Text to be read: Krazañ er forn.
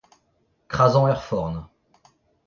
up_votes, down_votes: 2, 1